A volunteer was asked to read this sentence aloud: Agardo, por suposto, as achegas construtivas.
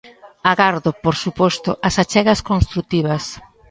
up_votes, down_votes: 4, 0